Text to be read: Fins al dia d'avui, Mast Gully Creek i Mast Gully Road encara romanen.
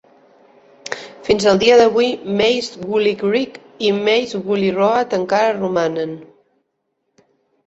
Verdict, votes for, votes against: rejected, 0, 2